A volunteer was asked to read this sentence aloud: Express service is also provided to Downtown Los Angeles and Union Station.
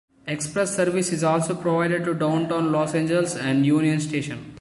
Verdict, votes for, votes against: accepted, 2, 1